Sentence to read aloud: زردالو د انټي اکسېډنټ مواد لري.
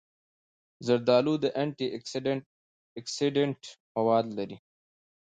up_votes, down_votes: 2, 0